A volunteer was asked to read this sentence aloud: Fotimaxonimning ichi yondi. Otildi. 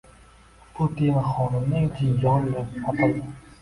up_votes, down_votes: 0, 2